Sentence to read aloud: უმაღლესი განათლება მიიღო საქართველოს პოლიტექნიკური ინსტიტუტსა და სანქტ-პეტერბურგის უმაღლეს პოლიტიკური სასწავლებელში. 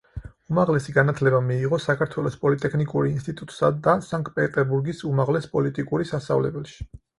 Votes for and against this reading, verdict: 4, 0, accepted